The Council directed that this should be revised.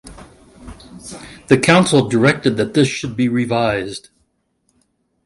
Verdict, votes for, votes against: accepted, 2, 1